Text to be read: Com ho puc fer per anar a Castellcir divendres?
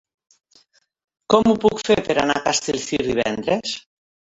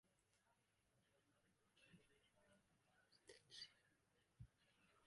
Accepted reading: first